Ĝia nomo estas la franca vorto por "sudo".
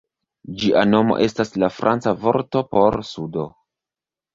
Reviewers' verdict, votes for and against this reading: rejected, 0, 2